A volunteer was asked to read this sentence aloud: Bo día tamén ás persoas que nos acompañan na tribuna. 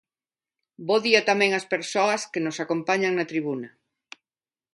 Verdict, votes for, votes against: accepted, 2, 0